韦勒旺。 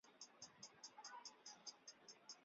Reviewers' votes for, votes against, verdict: 0, 2, rejected